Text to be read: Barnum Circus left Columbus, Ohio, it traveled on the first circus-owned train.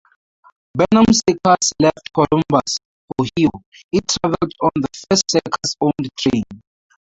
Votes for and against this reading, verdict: 0, 2, rejected